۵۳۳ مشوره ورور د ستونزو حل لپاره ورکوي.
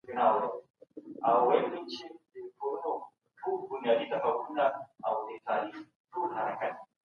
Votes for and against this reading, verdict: 0, 2, rejected